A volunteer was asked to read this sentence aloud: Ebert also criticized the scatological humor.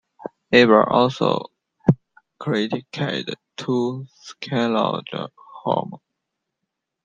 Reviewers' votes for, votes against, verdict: 1, 2, rejected